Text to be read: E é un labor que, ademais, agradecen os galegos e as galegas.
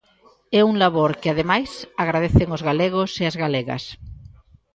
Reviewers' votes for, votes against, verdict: 1, 2, rejected